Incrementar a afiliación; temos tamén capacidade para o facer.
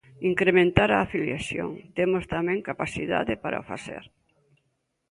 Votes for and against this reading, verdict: 2, 0, accepted